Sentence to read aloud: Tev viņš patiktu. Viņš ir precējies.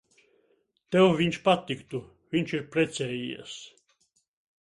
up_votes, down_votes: 2, 0